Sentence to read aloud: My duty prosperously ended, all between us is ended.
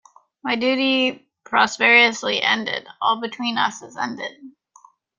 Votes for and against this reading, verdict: 2, 0, accepted